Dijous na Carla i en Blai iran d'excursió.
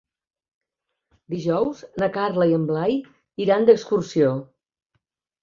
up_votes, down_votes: 4, 0